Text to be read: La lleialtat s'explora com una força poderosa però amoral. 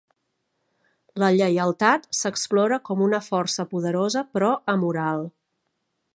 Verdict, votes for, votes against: accepted, 3, 0